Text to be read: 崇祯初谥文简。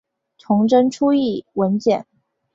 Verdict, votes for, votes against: rejected, 0, 2